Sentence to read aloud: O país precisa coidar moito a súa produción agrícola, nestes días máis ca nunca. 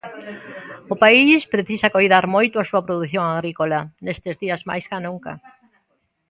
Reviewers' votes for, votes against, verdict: 1, 2, rejected